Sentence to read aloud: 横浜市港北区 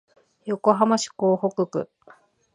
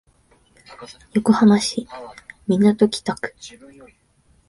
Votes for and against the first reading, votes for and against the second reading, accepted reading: 12, 2, 0, 2, first